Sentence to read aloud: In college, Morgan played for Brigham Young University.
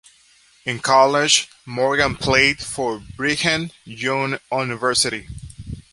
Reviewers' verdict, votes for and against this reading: rejected, 1, 3